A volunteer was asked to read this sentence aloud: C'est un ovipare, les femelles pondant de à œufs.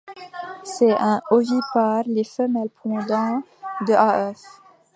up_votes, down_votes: 1, 2